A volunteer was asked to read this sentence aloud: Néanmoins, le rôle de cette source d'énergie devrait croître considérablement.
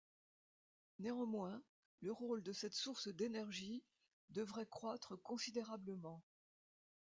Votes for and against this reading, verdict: 1, 2, rejected